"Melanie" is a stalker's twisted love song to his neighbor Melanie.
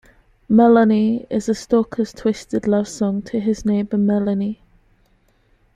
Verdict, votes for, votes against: accepted, 2, 0